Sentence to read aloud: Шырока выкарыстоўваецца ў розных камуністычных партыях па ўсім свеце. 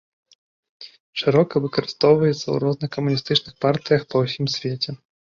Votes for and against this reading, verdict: 2, 0, accepted